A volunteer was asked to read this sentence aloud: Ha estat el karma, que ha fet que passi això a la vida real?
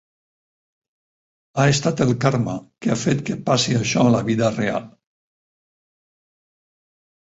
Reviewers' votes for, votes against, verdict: 0, 4, rejected